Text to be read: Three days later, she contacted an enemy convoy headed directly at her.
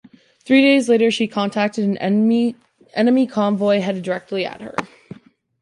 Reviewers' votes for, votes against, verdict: 2, 1, accepted